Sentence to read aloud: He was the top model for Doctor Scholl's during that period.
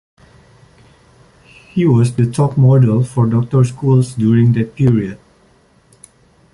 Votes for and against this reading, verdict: 1, 2, rejected